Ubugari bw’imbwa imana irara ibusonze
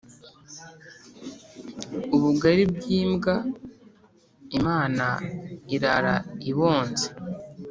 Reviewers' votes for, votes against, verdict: 0, 3, rejected